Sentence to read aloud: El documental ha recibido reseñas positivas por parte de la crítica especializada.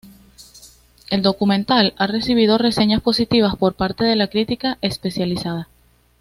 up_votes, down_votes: 2, 0